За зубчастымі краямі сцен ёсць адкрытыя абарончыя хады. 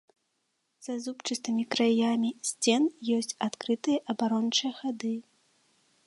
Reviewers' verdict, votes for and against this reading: accepted, 2, 0